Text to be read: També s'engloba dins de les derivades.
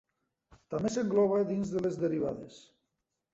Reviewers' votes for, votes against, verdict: 3, 0, accepted